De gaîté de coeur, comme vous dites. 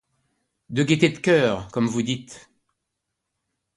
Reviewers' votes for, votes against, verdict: 2, 1, accepted